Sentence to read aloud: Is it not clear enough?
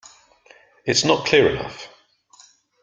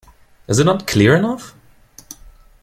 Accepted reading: second